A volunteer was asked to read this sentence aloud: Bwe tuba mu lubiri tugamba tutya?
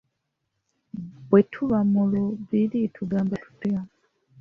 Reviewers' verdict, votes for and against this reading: accepted, 2, 1